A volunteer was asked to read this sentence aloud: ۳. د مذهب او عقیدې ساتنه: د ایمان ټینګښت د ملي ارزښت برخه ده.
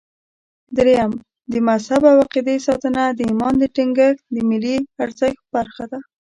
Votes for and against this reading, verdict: 0, 2, rejected